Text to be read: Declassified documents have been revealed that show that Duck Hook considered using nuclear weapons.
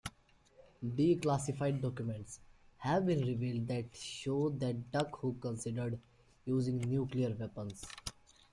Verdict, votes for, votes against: rejected, 1, 2